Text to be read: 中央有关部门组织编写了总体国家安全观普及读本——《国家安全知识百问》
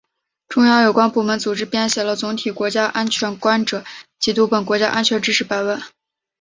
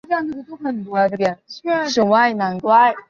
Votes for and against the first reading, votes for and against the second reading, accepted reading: 5, 0, 1, 2, first